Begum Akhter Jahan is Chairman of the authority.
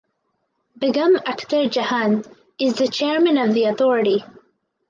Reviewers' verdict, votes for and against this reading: accepted, 4, 2